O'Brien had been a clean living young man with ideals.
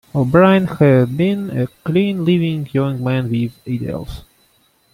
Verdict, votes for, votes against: rejected, 1, 2